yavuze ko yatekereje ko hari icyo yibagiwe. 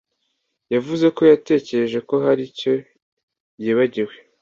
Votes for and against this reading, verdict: 2, 0, accepted